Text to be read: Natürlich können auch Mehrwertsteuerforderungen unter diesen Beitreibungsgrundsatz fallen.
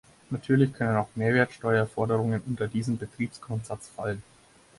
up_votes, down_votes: 0, 4